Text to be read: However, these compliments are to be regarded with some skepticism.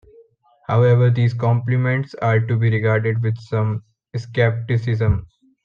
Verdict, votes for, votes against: accepted, 2, 0